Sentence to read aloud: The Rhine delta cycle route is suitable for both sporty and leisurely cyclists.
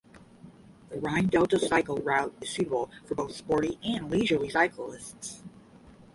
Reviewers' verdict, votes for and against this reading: rejected, 0, 10